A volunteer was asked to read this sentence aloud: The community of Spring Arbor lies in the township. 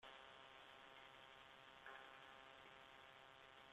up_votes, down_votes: 0, 2